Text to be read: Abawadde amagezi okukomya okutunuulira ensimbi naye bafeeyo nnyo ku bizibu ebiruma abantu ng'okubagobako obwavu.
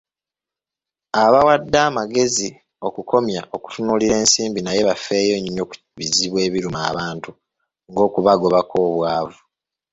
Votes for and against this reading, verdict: 1, 2, rejected